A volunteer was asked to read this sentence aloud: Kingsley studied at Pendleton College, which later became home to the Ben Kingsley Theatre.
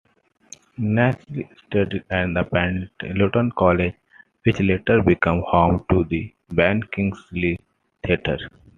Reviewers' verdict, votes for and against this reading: accepted, 2, 1